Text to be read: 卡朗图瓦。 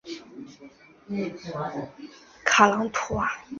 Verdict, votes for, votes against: rejected, 1, 2